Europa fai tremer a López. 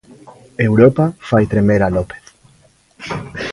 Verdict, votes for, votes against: accepted, 2, 0